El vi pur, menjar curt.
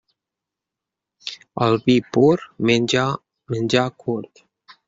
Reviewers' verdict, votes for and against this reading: rejected, 0, 2